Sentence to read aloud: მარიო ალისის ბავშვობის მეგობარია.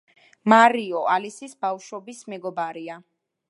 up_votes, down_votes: 2, 1